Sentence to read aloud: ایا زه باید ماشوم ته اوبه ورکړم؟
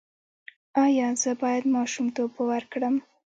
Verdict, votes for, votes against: rejected, 0, 2